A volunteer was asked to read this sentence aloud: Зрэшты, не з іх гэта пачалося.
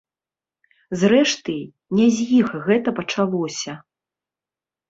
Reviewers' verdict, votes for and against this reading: rejected, 0, 2